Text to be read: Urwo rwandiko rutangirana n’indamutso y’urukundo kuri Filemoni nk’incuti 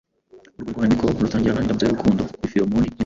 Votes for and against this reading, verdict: 2, 3, rejected